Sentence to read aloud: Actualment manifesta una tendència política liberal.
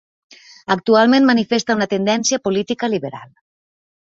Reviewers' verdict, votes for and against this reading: accepted, 2, 0